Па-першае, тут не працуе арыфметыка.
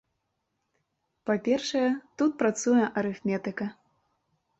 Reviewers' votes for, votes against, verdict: 0, 2, rejected